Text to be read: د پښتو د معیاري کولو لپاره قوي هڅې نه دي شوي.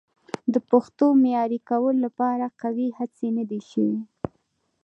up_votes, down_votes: 2, 0